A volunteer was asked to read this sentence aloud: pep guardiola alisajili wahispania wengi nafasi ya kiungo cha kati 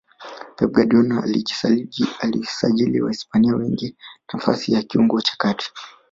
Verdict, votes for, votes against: rejected, 0, 2